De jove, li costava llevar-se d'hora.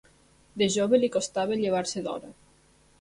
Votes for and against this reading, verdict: 3, 0, accepted